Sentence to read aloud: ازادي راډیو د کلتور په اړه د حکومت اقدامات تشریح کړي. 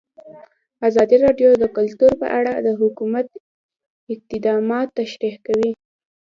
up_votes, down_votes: 1, 2